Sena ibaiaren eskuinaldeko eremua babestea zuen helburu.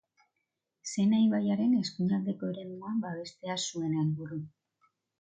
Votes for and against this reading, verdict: 1, 2, rejected